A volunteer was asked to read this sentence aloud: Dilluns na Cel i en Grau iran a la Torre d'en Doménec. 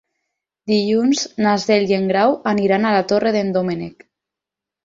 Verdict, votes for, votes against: rejected, 0, 4